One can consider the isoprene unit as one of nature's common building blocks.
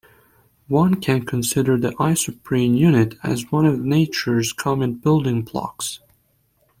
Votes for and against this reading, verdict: 2, 0, accepted